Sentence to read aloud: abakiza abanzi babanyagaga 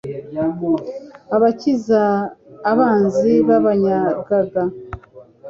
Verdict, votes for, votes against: accepted, 2, 0